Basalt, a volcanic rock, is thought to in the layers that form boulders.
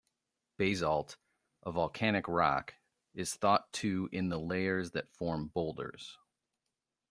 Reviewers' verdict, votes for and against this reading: rejected, 0, 2